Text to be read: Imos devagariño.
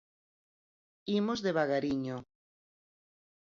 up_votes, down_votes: 4, 0